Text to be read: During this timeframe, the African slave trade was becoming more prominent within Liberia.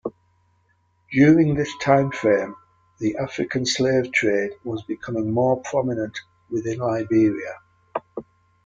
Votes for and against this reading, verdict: 2, 0, accepted